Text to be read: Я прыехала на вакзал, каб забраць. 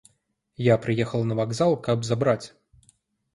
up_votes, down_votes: 1, 2